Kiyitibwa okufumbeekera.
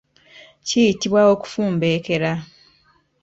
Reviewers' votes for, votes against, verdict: 1, 2, rejected